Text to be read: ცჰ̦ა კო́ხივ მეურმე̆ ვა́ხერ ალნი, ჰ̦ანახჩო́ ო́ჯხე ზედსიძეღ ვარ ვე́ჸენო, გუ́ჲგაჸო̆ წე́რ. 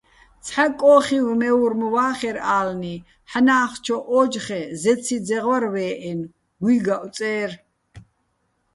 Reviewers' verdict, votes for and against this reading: rejected, 0, 2